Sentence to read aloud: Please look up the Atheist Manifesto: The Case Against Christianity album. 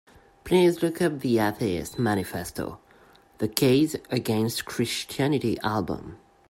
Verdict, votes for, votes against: accepted, 2, 0